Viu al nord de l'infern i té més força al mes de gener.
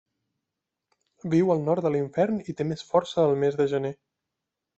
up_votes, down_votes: 2, 0